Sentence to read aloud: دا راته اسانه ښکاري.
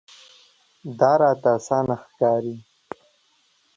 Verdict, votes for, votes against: accepted, 2, 0